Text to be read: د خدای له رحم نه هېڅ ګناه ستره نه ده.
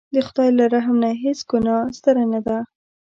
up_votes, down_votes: 2, 0